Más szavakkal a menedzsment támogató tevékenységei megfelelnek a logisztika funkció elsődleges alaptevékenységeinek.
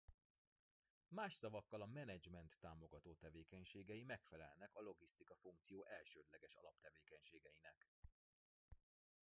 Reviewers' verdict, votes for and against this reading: accepted, 2, 1